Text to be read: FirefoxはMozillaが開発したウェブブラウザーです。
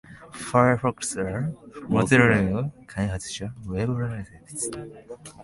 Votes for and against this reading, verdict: 1, 2, rejected